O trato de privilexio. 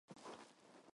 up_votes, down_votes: 0, 4